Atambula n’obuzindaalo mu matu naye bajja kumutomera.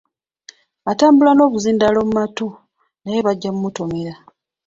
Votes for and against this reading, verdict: 2, 0, accepted